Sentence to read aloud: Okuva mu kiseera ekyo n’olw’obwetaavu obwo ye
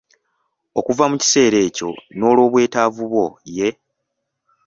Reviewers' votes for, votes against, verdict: 2, 1, accepted